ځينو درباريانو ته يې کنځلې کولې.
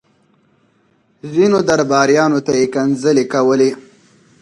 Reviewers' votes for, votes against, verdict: 4, 0, accepted